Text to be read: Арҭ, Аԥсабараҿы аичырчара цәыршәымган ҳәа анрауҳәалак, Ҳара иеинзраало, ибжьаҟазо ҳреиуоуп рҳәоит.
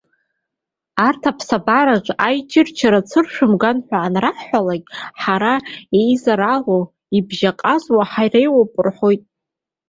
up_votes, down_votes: 1, 2